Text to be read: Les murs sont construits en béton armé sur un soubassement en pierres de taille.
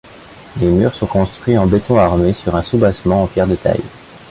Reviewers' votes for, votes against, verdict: 2, 1, accepted